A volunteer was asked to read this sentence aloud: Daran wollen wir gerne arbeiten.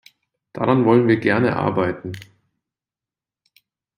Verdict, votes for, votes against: accepted, 2, 0